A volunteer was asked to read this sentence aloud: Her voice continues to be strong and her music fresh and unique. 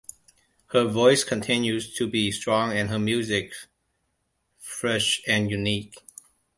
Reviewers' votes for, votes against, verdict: 2, 0, accepted